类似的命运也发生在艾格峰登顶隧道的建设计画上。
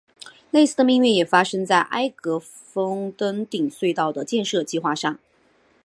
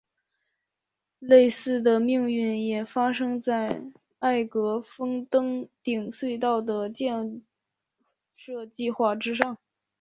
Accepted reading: first